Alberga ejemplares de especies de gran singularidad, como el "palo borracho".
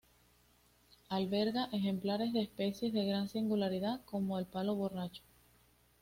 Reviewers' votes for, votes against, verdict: 2, 0, accepted